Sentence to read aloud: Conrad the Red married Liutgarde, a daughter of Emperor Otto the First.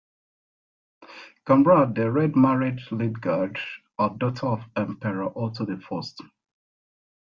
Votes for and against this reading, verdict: 2, 0, accepted